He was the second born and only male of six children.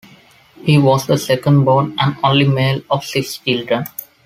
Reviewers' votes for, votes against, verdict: 2, 0, accepted